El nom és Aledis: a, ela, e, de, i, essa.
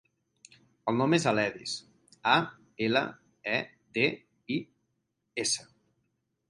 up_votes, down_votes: 0, 4